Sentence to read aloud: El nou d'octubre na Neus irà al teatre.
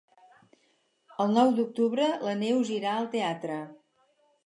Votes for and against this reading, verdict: 0, 4, rejected